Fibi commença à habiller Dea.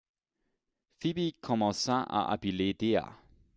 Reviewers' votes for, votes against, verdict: 1, 2, rejected